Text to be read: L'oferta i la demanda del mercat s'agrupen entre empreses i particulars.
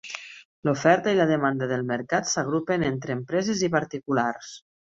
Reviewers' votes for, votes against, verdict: 3, 0, accepted